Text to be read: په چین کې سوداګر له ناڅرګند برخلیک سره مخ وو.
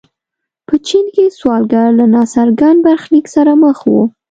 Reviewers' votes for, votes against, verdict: 1, 2, rejected